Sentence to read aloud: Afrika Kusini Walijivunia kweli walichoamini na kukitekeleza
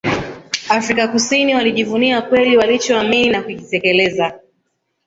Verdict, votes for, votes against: rejected, 1, 2